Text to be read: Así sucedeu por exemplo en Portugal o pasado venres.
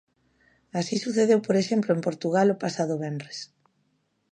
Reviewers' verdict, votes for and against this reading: accepted, 2, 0